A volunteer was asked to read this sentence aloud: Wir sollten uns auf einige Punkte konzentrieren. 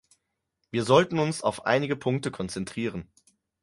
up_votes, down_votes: 4, 0